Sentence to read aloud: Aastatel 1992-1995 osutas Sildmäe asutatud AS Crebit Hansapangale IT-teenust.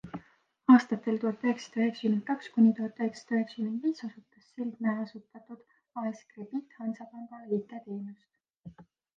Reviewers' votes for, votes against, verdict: 0, 2, rejected